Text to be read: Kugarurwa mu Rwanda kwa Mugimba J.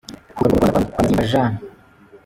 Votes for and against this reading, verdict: 0, 2, rejected